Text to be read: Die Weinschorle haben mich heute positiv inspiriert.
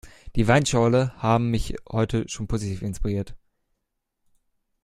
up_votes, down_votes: 1, 2